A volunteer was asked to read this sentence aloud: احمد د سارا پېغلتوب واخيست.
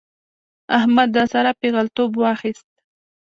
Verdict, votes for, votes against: accepted, 2, 0